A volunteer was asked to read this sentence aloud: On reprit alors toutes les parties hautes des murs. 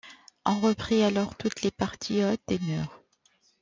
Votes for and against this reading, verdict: 2, 1, accepted